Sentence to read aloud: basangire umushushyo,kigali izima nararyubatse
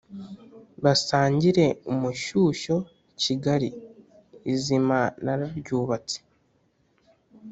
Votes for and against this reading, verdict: 0, 2, rejected